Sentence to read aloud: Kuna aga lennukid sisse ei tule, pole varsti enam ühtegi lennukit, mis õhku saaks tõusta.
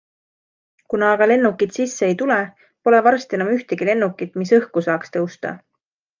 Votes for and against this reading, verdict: 2, 0, accepted